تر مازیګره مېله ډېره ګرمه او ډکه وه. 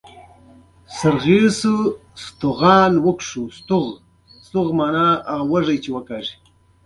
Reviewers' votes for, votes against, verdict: 1, 2, rejected